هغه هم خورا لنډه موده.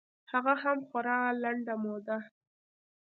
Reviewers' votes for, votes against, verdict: 2, 0, accepted